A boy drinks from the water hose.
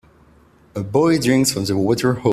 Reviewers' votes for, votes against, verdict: 2, 1, accepted